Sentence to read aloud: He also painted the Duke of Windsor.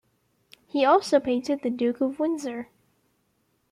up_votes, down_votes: 2, 0